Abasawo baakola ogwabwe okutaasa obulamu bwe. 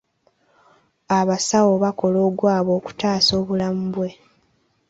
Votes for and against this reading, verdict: 0, 2, rejected